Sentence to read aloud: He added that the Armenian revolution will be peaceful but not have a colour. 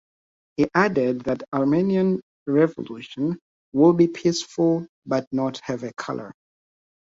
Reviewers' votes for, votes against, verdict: 1, 2, rejected